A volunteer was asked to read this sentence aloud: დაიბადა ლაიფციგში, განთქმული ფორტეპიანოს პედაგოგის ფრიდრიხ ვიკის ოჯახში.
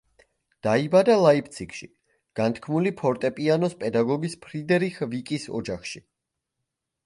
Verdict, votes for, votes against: rejected, 1, 2